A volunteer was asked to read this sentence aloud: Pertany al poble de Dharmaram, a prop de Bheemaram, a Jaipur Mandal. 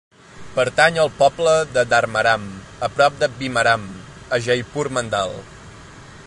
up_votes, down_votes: 3, 1